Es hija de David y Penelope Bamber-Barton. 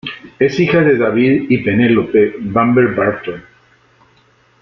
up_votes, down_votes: 1, 2